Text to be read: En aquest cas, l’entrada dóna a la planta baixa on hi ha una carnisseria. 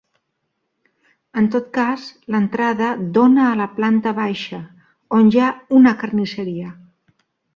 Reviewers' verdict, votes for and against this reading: rejected, 0, 2